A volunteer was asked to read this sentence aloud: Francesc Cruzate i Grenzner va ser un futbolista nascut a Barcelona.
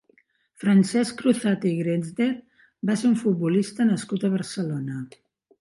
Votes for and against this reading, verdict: 2, 1, accepted